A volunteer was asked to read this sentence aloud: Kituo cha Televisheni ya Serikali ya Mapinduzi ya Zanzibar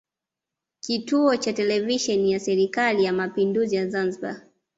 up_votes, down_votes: 2, 0